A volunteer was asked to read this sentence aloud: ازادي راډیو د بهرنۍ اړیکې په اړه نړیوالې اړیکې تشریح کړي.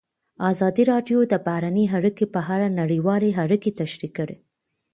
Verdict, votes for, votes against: accepted, 2, 1